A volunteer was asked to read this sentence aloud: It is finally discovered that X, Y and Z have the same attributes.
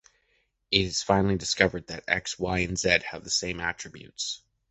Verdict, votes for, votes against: rejected, 0, 2